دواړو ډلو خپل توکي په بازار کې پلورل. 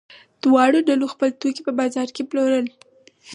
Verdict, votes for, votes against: accepted, 4, 0